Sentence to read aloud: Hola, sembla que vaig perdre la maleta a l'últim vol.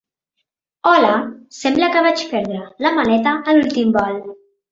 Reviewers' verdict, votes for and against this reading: accepted, 3, 0